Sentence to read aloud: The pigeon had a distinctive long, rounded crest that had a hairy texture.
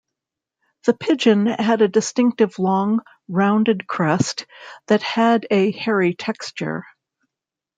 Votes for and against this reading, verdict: 2, 0, accepted